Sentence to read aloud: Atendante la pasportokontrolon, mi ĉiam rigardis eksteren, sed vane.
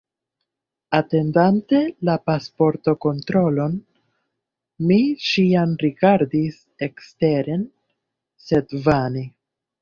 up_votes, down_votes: 2, 0